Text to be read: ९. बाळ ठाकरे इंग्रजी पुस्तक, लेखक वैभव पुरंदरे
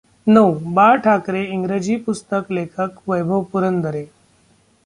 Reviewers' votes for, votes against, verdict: 0, 2, rejected